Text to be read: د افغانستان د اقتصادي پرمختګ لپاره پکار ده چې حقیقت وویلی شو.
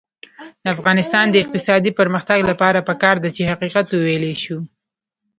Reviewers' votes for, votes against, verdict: 1, 2, rejected